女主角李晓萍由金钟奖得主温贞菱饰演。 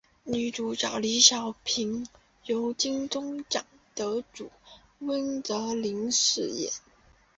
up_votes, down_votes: 2, 0